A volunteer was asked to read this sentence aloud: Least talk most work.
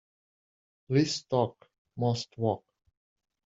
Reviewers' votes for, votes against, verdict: 1, 2, rejected